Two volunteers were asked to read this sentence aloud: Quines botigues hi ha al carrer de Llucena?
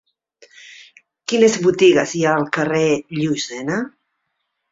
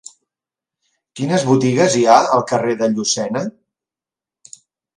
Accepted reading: second